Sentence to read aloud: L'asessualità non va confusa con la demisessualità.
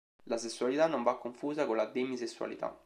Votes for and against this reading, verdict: 3, 0, accepted